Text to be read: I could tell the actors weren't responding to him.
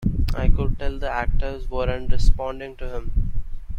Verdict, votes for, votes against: accepted, 2, 0